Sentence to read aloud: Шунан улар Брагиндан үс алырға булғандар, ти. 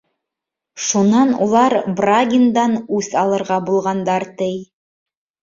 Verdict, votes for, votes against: rejected, 1, 2